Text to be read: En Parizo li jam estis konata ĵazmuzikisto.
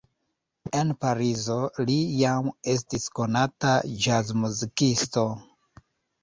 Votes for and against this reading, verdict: 1, 2, rejected